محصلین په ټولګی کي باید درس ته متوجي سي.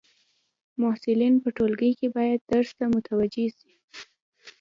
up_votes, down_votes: 2, 0